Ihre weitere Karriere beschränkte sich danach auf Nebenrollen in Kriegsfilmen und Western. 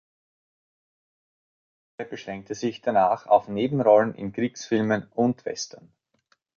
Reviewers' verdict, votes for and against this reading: rejected, 0, 2